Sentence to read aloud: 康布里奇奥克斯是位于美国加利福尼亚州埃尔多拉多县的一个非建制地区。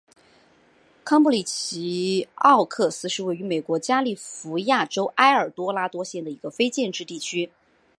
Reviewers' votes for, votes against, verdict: 2, 0, accepted